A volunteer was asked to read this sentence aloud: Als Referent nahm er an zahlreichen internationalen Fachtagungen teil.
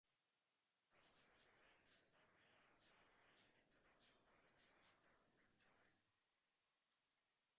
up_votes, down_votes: 0, 4